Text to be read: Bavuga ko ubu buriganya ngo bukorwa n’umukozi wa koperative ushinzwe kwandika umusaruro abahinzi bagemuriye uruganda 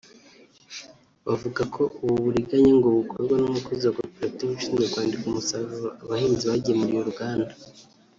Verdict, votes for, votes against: rejected, 1, 2